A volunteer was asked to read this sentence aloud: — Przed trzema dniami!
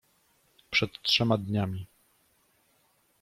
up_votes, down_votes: 0, 2